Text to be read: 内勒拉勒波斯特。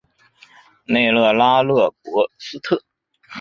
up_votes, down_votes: 3, 0